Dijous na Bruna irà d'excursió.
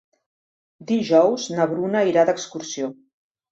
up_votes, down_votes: 3, 0